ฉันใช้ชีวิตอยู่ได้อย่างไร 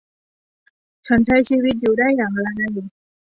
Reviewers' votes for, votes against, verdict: 2, 0, accepted